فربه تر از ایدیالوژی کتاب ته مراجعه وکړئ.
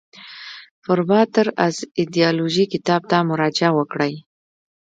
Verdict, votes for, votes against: rejected, 1, 2